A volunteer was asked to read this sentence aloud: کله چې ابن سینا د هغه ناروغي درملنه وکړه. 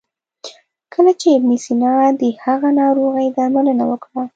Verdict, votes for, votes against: accepted, 2, 0